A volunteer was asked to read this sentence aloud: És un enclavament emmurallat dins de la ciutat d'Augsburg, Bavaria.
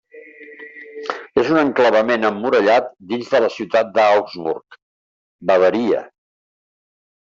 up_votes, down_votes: 1, 2